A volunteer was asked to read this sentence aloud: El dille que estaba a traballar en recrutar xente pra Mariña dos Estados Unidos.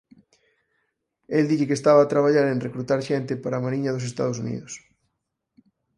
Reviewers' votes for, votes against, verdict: 2, 4, rejected